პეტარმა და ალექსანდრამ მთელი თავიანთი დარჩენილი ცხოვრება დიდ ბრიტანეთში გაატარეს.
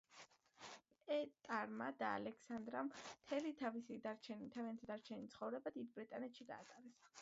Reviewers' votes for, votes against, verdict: 0, 2, rejected